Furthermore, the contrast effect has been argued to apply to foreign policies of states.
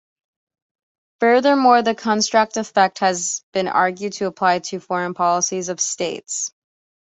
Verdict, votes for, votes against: accepted, 2, 0